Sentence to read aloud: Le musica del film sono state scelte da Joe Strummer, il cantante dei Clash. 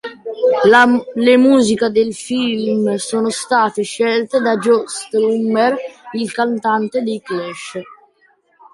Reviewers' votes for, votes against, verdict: 0, 2, rejected